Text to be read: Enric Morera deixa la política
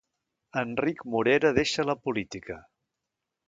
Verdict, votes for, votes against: accepted, 2, 0